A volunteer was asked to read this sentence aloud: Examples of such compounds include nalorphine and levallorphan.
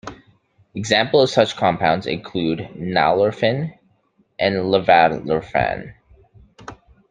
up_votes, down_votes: 1, 2